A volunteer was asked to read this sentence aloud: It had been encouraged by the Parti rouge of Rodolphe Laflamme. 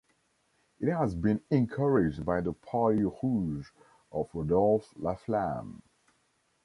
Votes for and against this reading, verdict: 0, 2, rejected